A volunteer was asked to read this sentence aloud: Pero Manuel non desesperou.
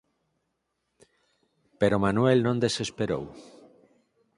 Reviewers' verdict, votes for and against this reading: accepted, 4, 0